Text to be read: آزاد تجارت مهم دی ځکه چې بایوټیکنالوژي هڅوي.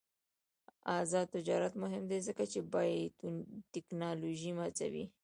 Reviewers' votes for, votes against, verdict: 1, 2, rejected